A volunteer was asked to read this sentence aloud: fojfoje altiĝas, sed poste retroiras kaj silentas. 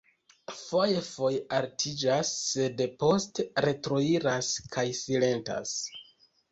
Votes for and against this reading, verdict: 1, 2, rejected